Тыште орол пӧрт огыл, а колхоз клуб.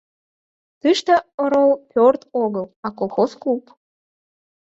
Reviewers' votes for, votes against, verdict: 0, 4, rejected